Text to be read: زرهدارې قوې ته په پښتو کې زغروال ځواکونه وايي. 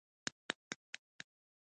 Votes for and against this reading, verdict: 1, 2, rejected